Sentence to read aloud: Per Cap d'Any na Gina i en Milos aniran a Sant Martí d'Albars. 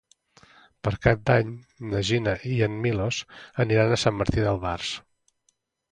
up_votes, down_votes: 3, 0